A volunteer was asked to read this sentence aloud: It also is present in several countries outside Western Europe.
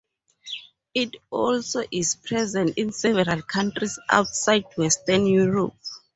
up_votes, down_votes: 2, 0